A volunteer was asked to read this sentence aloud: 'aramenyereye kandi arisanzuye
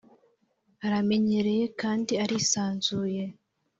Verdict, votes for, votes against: accepted, 2, 0